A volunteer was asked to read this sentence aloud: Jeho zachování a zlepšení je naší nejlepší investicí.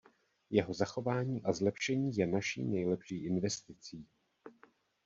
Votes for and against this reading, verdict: 1, 2, rejected